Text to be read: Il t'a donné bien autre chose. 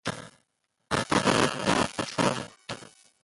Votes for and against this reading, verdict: 0, 2, rejected